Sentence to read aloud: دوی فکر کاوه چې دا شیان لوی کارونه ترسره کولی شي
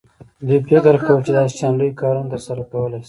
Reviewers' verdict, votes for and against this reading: accepted, 2, 0